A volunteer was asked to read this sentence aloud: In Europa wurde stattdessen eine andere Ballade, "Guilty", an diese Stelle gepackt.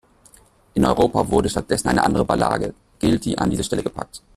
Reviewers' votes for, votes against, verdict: 1, 2, rejected